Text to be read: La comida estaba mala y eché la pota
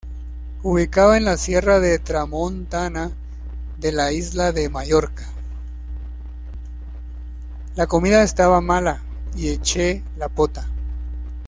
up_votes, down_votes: 1, 2